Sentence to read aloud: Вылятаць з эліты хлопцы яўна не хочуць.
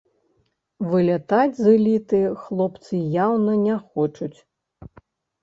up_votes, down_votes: 2, 0